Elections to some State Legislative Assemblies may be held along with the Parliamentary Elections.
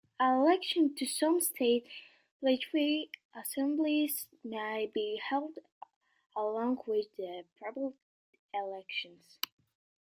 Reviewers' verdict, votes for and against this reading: rejected, 0, 2